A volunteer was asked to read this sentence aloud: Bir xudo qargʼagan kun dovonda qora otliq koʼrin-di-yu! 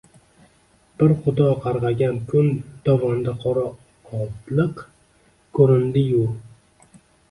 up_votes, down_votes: 0, 2